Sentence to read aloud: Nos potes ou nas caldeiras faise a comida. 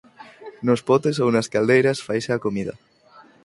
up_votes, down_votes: 4, 0